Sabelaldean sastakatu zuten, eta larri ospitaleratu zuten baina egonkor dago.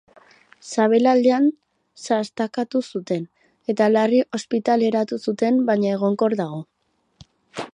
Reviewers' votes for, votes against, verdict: 2, 0, accepted